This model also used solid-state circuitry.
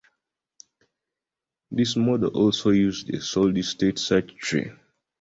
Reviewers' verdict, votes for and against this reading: accepted, 2, 1